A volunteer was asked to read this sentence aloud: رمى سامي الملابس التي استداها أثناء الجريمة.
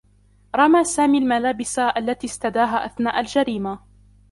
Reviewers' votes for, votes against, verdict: 2, 1, accepted